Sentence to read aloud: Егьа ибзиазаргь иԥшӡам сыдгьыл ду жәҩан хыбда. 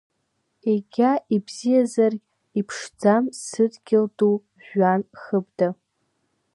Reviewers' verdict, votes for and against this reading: accepted, 2, 1